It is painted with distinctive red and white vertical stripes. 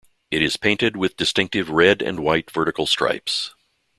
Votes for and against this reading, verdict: 2, 0, accepted